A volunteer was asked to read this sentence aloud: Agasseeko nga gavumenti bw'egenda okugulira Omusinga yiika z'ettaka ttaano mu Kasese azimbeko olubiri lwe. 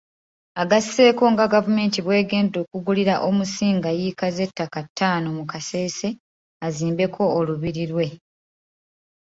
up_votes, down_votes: 2, 1